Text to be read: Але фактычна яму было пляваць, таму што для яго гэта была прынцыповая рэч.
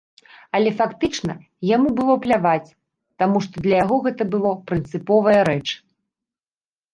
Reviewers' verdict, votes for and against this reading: rejected, 1, 2